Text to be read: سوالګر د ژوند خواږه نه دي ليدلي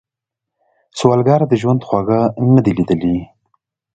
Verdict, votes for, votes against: accepted, 2, 0